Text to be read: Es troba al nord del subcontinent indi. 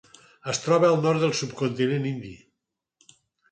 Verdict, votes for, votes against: accepted, 4, 0